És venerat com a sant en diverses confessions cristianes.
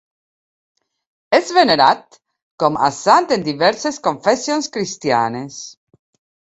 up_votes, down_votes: 2, 1